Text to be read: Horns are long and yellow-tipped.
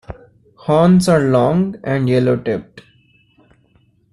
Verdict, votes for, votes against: accepted, 2, 0